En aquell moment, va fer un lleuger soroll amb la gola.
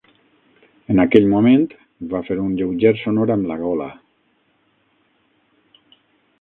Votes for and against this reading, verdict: 3, 6, rejected